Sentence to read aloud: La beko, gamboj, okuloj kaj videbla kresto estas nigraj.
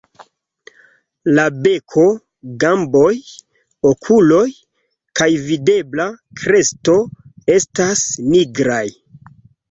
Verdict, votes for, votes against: accepted, 2, 1